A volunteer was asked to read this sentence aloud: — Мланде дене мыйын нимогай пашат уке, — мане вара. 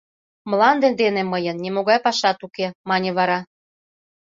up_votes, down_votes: 2, 0